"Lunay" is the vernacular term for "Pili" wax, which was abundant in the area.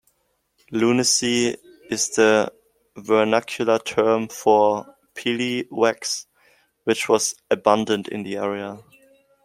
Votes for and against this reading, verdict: 1, 2, rejected